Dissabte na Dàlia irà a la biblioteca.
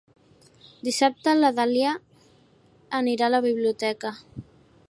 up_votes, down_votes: 0, 2